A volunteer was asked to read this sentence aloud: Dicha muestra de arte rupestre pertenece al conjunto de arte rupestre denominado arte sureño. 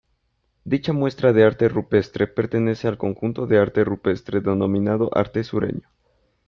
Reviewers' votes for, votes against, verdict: 2, 0, accepted